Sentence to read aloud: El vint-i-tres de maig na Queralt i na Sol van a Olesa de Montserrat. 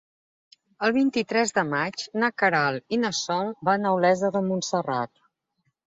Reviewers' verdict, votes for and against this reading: accepted, 3, 0